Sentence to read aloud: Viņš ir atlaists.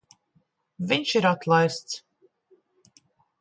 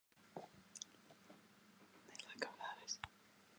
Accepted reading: first